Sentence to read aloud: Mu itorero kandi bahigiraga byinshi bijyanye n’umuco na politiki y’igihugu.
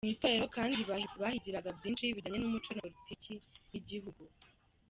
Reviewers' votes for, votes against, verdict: 0, 2, rejected